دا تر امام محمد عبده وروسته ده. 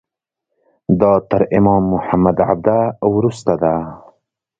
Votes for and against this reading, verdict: 2, 0, accepted